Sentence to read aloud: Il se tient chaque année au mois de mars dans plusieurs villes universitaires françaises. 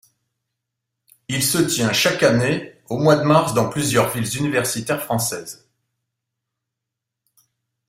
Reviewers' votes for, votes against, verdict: 2, 0, accepted